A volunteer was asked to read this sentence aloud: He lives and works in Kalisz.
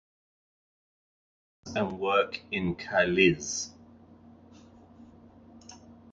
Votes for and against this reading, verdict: 1, 2, rejected